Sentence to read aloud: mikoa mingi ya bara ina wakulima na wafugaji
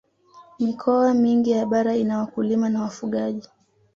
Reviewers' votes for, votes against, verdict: 2, 0, accepted